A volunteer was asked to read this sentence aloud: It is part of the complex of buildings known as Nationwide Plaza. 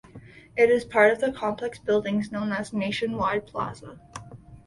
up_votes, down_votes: 2, 1